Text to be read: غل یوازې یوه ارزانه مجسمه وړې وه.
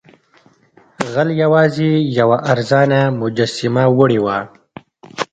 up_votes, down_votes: 2, 0